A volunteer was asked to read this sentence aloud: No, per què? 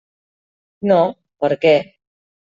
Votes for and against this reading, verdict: 3, 0, accepted